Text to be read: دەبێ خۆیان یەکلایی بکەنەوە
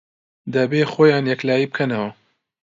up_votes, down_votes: 2, 0